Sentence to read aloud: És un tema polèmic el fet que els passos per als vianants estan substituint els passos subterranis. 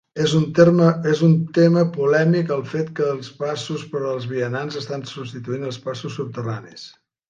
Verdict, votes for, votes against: rejected, 0, 2